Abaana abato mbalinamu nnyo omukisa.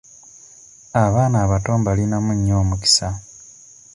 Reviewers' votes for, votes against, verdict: 2, 0, accepted